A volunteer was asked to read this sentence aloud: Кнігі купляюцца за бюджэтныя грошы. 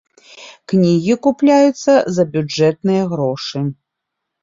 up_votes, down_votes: 3, 0